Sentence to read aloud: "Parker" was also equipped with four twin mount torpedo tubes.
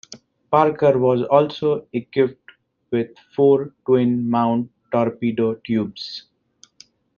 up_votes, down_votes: 2, 1